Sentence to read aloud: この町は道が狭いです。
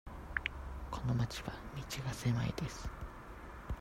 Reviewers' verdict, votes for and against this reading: accepted, 2, 0